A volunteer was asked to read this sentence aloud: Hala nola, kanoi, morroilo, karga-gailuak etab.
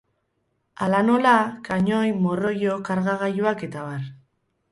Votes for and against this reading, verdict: 4, 0, accepted